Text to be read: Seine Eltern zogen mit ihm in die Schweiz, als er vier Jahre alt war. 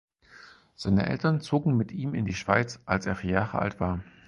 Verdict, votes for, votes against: accepted, 4, 0